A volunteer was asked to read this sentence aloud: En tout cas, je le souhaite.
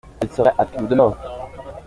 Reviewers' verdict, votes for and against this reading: rejected, 0, 2